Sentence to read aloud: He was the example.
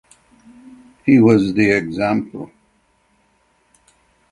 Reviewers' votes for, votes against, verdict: 6, 0, accepted